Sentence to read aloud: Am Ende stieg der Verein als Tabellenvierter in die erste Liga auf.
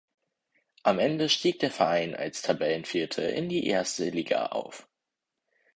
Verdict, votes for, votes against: accepted, 4, 0